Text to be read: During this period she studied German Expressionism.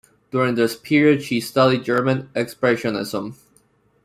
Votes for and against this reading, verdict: 3, 0, accepted